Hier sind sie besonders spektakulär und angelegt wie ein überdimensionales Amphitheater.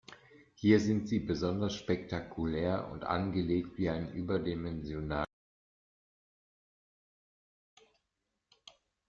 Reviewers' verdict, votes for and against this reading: rejected, 0, 2